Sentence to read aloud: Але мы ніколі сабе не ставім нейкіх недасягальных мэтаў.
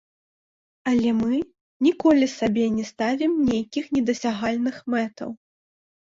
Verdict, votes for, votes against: rejected, 1, 2